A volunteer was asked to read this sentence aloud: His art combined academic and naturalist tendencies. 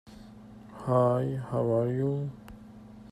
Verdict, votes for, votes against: rejected, 1, 2